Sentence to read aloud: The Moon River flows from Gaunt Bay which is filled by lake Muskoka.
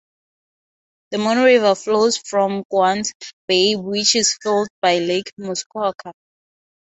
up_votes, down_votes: 0, 3